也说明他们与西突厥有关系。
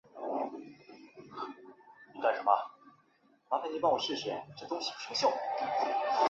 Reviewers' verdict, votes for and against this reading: rejected, 1, 3